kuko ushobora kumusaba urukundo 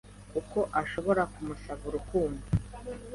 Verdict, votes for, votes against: rejected, 1, 2